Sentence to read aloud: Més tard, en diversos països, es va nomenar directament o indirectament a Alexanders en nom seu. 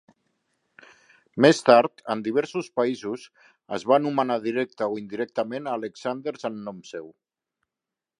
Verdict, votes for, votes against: rejected, 1, 2